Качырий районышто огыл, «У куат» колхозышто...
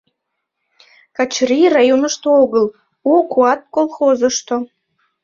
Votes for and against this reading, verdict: 2, 1, accepted